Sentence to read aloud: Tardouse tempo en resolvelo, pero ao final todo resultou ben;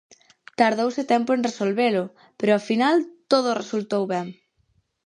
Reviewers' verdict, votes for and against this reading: accepted, 4, 0